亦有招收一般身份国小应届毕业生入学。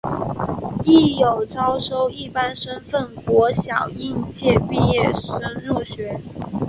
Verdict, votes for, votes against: accepted, 4, 0